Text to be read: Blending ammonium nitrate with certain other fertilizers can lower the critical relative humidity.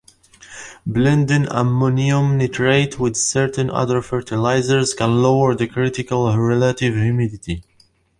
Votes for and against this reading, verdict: 1, 2, rejected